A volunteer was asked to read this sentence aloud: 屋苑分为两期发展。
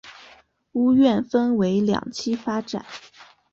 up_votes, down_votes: 3, 0